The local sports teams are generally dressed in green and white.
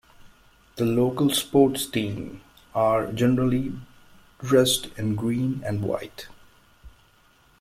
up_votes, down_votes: 0, 2